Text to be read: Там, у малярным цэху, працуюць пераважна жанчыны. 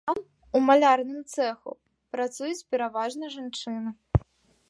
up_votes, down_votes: 2, 1